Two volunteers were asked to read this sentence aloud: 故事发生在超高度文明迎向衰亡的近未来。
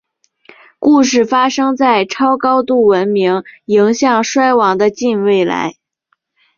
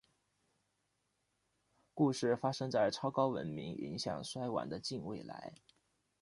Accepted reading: first